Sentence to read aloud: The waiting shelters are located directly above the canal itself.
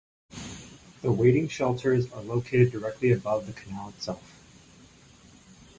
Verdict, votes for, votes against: accepted, 4, 0